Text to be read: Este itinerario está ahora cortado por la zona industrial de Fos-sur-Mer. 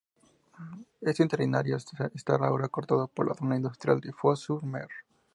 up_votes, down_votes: 0, 2